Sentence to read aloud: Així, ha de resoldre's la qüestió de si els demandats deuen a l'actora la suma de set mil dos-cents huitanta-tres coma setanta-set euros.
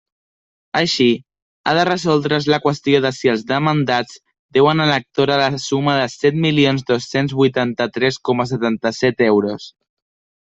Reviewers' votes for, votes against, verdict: 0, 2, rejected